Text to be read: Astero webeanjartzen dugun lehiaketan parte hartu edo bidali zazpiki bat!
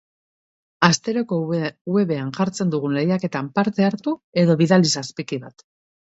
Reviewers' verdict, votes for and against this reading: rejected, 0, 2